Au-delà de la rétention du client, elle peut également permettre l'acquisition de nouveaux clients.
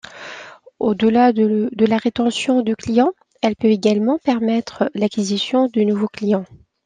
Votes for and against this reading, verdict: 2, 0, accepted